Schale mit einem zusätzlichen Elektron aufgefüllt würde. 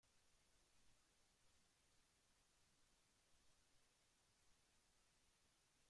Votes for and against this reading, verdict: 0, 2, rejected